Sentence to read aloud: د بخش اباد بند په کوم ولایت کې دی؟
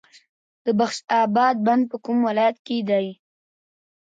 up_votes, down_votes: 0, 2